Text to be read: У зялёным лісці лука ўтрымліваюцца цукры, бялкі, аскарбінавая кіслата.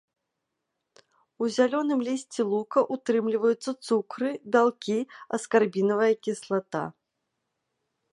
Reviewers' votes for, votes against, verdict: 2, 0, accepted